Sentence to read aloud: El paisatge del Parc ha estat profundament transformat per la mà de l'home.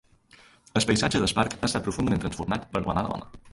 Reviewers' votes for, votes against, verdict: 0, 2, rejected